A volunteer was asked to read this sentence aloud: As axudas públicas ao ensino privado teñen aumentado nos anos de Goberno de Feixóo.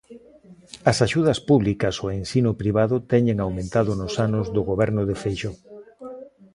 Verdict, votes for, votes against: rejected, 1, 2